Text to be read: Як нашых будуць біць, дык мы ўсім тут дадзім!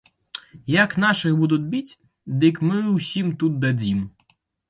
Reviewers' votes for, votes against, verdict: 1, 2, rejected